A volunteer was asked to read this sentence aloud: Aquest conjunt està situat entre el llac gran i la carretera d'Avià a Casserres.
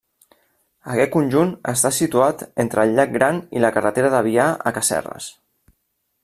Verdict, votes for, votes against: rejected, 0, 2